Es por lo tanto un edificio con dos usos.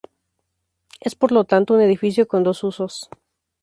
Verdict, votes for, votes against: accepted, 2, 0